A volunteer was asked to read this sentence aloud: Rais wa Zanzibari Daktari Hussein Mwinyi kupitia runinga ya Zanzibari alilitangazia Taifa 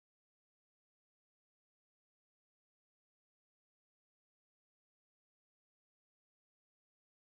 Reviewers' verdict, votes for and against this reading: rejected, 0, 2